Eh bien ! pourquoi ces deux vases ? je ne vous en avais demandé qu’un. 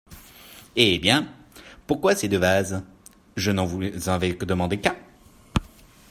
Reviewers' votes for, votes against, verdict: 0, 2, rejected